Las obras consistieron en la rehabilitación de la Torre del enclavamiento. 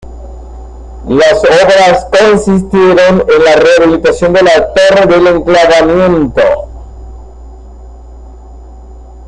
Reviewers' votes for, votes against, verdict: 2, 0, accepted